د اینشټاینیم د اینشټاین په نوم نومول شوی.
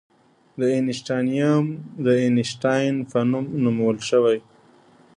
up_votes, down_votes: 2, 0